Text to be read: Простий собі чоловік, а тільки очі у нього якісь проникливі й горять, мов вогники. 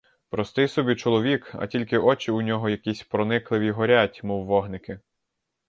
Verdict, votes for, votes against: rejected, 2, 2